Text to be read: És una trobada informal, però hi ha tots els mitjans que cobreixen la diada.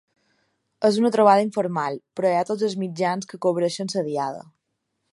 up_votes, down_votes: 2, 1